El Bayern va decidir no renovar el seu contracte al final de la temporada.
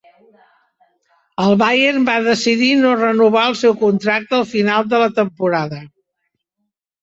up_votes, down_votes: 2, 0